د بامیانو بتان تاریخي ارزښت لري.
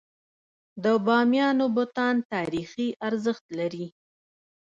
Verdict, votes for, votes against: rejected, 0, 2